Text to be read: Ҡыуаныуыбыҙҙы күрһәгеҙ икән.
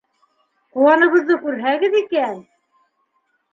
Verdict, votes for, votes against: rejected, 1, 2